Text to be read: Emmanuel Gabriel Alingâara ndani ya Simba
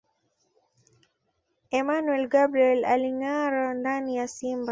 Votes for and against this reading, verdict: 2, 0, accepted